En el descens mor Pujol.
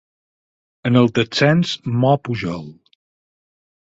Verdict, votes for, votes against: accepted, 4, 0